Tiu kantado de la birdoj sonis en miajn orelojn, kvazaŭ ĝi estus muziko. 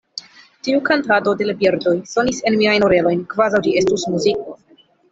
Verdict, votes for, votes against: accepted, 2, 0